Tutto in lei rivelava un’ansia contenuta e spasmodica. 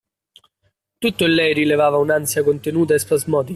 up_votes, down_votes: 0, 2